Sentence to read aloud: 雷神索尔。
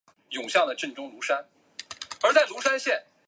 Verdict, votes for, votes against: rejected, 0, 2